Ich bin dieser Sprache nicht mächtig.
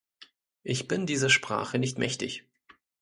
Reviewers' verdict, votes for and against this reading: rejected, 0, 2